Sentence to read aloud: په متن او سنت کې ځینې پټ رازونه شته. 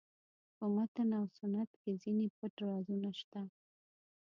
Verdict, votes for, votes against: rejected, 0, 2